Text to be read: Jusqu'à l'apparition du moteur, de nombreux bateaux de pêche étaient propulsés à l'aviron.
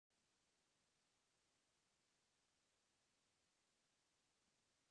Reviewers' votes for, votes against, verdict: 1, 2, rejected